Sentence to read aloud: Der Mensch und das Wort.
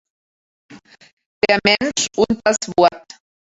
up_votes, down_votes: 1, 2